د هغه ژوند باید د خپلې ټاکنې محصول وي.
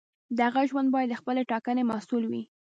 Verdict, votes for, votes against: rejected, 1, 2